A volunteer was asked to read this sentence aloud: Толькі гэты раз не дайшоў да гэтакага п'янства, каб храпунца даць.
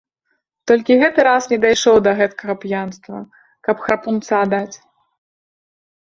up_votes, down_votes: 2, 0